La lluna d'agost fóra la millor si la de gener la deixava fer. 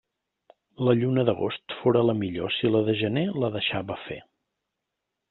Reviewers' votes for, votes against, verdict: 3, 0, accepted